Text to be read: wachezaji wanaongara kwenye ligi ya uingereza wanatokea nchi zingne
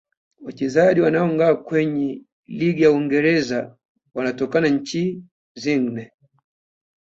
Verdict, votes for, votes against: rejected, 0, 2